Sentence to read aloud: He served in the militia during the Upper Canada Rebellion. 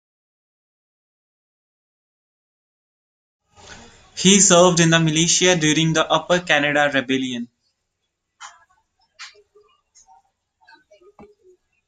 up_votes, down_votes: 2, 1